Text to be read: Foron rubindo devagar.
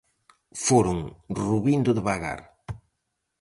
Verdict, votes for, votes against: accepted, 4, 0